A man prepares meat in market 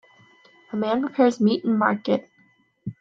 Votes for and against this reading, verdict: 2, 1, accepted